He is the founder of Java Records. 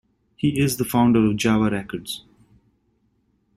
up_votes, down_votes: 2, 0